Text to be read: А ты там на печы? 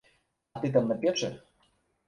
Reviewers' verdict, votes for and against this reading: accepted, 2, 0